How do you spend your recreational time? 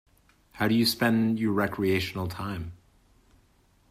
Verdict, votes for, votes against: accepted, 2, 0